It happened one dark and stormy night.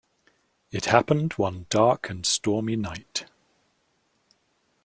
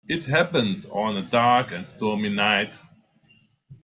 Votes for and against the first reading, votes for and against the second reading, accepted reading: 2, 0, 1, 2, first